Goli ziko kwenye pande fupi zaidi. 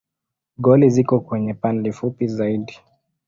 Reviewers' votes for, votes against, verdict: 2, 0, accepted